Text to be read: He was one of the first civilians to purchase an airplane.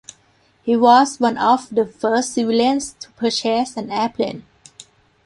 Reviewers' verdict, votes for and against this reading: rejected, 0, 2